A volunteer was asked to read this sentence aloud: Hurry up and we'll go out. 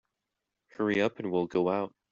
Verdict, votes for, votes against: accepted, 3, 0